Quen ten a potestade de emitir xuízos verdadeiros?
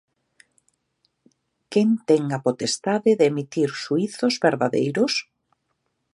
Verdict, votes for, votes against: accepted, 2, 0